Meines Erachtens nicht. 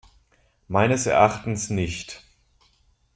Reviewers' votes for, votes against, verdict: 2, 0, accepted